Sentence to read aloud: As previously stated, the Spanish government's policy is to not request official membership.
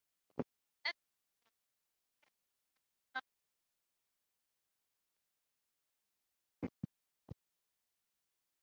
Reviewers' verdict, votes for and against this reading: rejected, 0, 3